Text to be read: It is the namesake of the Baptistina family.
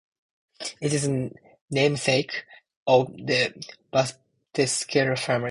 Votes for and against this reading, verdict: 0, 2, rejected